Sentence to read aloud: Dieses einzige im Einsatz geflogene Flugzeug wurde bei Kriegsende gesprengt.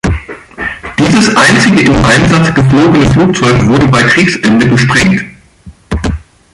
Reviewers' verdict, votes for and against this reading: accepted, 2, 0